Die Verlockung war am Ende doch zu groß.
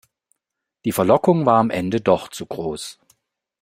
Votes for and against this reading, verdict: 2, 0, accepted